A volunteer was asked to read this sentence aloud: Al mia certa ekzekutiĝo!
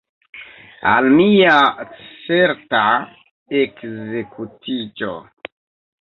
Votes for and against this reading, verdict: 2, 1, accepted